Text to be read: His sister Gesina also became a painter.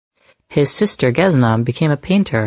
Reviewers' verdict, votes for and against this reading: rejected, 0, 4